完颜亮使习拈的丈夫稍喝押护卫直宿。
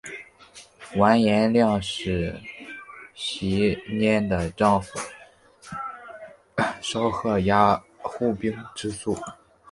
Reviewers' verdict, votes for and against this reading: rejected, 1, 3